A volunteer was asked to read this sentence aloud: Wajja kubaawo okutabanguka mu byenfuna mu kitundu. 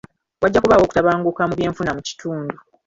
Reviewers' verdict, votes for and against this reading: rejected, 0, 2